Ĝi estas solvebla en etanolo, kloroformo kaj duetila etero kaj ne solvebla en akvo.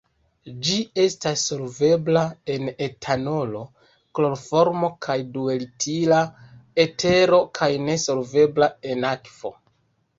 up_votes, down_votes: 1, 2